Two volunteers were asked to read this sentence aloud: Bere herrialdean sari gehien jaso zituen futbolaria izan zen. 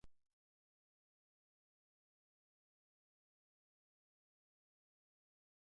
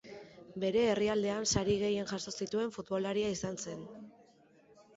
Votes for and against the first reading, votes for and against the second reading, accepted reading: 0, 2, 5, 0, second